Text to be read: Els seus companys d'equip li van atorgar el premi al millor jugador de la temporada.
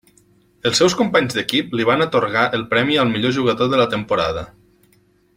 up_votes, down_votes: 3, 0